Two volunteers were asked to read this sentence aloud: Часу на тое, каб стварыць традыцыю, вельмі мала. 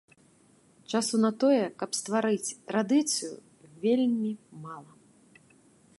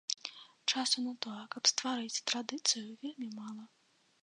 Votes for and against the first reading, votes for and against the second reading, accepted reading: 2, 0, 1, 2, first